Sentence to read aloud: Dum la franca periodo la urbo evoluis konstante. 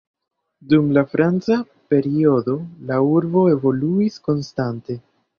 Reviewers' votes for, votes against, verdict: 1, 2, rejected